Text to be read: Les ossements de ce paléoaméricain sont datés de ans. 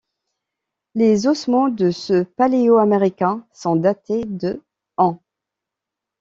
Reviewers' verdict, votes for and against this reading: accepted, 2, 0